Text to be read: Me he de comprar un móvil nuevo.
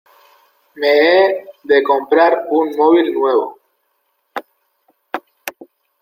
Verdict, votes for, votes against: accepted, 2, 0